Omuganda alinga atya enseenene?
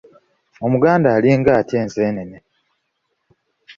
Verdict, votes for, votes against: accepted, 2, 0